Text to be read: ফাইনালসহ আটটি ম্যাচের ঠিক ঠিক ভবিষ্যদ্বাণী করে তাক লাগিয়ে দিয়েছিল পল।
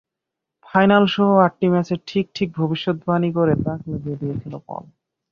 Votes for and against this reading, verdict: 5, 0, accepted